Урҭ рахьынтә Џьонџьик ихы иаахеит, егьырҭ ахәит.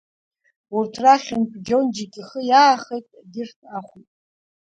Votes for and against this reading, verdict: 1, 2, rejected